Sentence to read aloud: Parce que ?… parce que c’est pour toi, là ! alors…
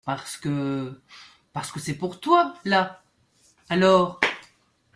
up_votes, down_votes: 2, 0